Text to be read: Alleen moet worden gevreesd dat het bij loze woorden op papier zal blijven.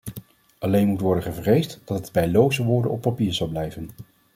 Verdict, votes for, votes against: accepted, 2, 0